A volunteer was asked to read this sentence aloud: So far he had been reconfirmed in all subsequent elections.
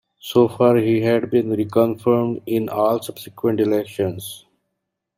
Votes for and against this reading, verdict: 2, 0, accepted